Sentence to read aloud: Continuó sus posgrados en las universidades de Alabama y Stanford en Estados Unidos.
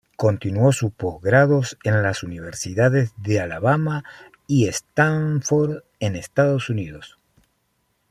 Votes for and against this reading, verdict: 2, 0, accepted